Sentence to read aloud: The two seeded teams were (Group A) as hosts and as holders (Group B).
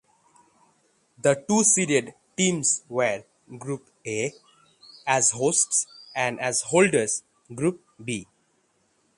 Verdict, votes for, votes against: accepted, 3, 0